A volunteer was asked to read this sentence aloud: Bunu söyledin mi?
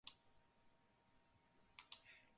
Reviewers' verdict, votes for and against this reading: rejected, 0, 4